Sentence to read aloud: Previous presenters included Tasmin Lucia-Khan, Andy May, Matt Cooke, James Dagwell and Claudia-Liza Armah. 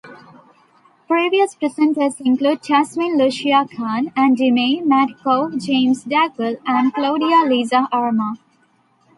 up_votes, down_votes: 1, 2